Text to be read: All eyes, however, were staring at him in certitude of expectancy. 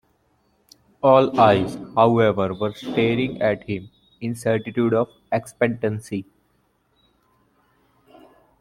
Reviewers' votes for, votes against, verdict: 2, 1, accepted